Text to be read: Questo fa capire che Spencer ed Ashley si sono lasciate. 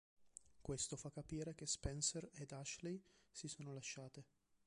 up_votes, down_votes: 1, 2